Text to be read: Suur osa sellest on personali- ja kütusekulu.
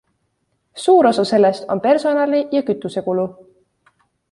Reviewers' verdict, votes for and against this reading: accepted, 2, 1